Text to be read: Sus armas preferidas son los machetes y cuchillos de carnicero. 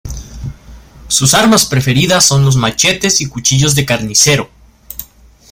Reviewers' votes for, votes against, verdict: 1, 2, rejected